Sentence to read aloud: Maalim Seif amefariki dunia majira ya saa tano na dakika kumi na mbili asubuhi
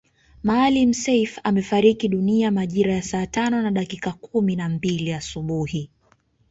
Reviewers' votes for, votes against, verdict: 2, 0, accepted